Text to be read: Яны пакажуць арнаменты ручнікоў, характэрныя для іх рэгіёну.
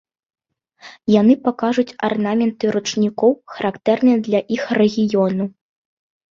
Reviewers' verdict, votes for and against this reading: accepted, 2, 0